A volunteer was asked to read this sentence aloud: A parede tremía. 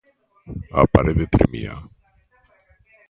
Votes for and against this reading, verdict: 2, 0, accepted